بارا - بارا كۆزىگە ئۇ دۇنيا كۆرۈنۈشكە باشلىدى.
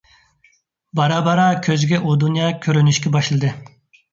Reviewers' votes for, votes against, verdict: 2, 0, accepted